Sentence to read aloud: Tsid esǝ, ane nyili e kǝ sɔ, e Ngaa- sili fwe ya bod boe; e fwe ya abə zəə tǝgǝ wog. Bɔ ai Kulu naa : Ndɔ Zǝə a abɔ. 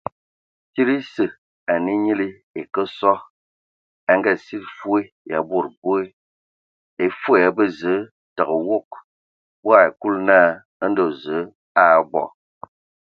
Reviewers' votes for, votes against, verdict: 2, 0, accepted